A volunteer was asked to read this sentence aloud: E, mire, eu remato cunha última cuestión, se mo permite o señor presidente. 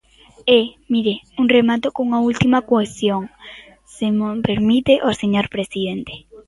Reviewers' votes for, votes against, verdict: 0, 2, rejected